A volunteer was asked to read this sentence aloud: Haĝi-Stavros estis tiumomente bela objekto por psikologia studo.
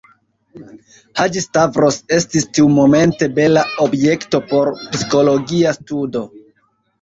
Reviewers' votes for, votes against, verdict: 0, 2, rejected